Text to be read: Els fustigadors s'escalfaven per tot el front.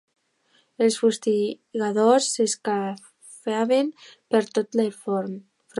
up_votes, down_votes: 0, 2